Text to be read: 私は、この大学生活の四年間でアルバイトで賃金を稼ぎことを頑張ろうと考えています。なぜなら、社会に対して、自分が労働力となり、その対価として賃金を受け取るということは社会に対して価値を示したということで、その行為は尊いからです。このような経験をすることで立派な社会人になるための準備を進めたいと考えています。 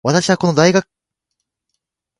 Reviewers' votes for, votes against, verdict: 1, 3, rejected